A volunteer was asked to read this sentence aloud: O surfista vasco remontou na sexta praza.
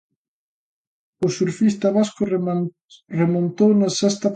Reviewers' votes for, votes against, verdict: 0, 2, rejected